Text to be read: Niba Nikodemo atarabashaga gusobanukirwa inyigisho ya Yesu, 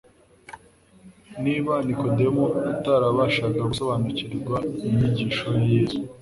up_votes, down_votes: 2, 0